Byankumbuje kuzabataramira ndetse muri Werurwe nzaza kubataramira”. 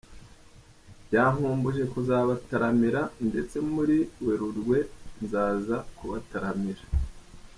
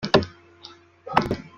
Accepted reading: first